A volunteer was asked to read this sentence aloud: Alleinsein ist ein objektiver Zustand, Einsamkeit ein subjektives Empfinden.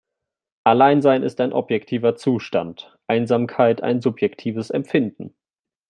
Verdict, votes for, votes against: accepted, 3, 0